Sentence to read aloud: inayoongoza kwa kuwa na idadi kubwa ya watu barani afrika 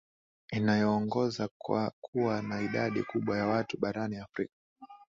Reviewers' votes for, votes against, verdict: 2, 0, accepted